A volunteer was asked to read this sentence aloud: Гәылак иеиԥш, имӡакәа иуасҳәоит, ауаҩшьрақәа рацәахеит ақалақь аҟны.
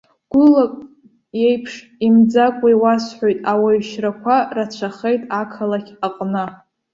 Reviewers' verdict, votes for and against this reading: accepted, 2, 0